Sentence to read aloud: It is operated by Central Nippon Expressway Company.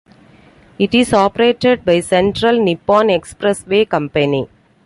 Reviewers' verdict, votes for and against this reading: accepted, 2, 0